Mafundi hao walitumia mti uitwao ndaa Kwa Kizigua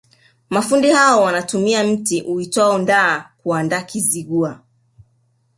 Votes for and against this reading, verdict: 1, 2, rejected